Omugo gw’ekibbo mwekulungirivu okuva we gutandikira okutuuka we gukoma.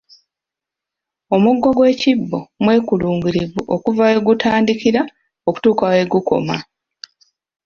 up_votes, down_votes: 2, 0